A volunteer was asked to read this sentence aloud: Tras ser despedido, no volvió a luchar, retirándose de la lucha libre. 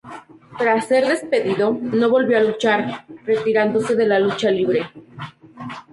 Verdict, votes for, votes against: accepted, 2, 0